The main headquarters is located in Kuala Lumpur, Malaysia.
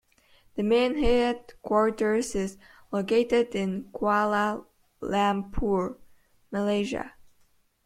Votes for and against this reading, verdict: 3, 0, accepted